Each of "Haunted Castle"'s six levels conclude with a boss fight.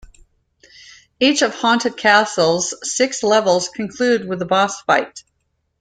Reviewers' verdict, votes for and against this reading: accepted, 2, 0